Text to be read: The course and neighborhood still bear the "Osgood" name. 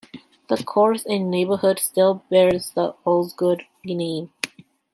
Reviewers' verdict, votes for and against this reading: rejected, 1, 2